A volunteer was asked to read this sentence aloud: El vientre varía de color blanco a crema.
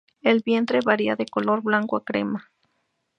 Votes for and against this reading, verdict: 2, 0, accepted